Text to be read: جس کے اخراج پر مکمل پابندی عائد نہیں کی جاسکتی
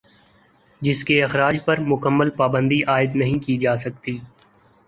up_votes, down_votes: 4, 0